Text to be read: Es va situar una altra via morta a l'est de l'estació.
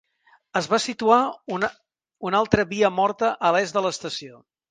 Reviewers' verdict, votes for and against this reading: rejected, 0, 2